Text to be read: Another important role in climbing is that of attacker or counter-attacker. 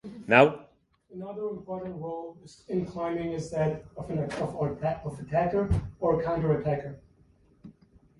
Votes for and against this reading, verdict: 0, 2, rejected